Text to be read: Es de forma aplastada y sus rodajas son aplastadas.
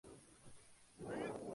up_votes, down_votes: 0, 2